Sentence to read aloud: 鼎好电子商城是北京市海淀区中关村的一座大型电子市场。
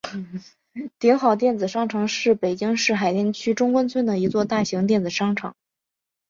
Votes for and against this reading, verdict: 2, 1, accepted